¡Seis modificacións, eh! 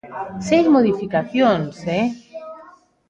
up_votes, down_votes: 1, 2